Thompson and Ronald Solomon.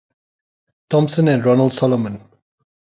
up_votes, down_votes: 6, 0